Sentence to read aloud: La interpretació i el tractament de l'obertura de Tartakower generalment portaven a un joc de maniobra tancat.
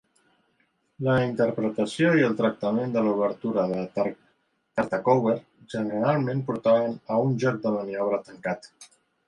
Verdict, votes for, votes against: rejected, 0, 2